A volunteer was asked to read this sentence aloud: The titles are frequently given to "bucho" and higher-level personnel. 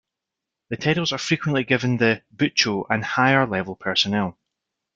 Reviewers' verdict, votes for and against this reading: accepted, 2, 1